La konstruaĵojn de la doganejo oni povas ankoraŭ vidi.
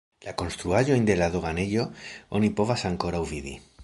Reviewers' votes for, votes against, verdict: 0, 2, rejected